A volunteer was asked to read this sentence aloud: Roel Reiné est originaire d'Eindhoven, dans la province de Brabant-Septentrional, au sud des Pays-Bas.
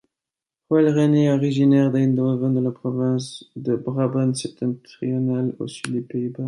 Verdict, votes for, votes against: rejected, 1, 2